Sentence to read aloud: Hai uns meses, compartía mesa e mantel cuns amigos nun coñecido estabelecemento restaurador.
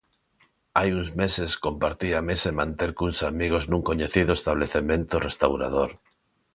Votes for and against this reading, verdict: 1, 2, rejected